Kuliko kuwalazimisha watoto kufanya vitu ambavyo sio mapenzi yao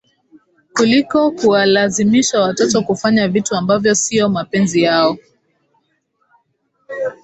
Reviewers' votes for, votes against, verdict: 12, 1, accepted